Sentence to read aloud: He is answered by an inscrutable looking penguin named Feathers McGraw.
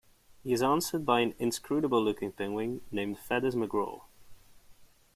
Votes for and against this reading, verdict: 2, 0, accepted